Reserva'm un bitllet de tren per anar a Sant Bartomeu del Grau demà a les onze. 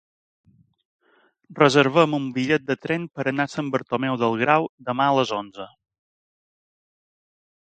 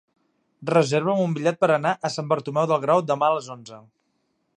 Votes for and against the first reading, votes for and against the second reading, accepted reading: 3, 1, 1, 2, first